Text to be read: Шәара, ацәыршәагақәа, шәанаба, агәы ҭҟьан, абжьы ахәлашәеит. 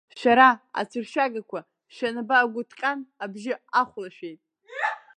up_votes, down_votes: 0, 2